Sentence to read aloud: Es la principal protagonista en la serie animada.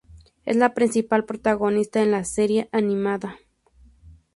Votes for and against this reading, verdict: 2, 0, accepted